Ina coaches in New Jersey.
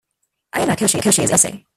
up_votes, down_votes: 0, 2